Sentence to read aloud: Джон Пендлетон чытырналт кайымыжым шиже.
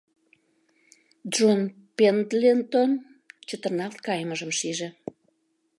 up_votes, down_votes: 0, 2